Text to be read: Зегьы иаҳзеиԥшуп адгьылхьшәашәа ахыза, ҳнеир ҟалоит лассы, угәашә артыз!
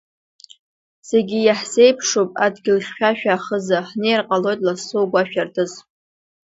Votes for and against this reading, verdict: 2, 0, accepted